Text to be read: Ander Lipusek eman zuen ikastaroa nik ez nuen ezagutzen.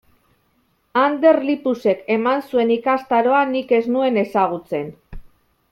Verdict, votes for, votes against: accepted, 2, 0